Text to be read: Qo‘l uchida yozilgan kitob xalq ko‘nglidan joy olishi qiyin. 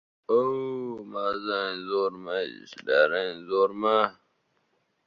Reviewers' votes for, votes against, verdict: 0, 2, rejected